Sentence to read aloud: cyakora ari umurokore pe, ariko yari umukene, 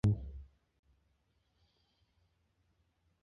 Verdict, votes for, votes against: rejected, 1, 2